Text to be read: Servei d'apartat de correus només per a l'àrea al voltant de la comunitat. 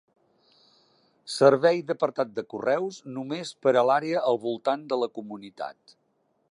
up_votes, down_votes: 3, 0